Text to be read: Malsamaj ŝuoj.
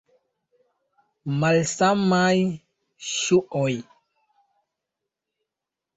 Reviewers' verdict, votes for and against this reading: accepted, 2, 0